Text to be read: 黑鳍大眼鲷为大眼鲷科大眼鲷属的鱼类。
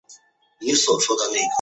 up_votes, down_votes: 0, 6